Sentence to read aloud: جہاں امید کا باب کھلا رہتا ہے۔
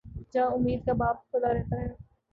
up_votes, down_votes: 2, 0